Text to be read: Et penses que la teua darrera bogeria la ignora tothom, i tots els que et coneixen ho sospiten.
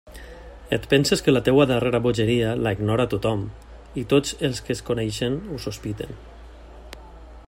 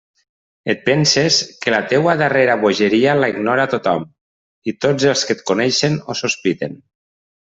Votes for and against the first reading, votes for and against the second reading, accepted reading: 0, 2, 3, 0, second